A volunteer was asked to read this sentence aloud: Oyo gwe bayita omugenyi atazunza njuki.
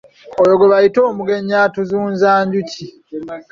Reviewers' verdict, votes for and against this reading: rejected, 0, 2